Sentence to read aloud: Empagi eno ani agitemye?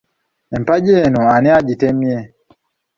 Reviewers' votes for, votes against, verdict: 2, 1, accepted